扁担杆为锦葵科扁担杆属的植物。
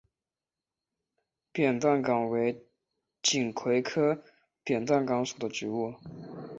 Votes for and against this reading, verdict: 3, 1, accepted